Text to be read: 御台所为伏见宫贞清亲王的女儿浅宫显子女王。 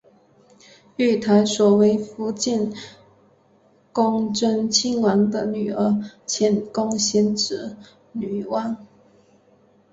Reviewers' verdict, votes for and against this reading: accepted, 2, 1